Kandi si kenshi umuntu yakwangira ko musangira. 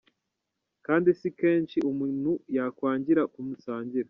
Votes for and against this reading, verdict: 1, 2, rejected